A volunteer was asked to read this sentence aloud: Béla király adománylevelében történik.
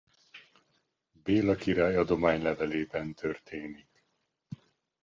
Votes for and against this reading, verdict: 2, 0, accepted